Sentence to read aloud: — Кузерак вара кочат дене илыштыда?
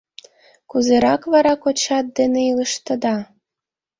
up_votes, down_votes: 2, 0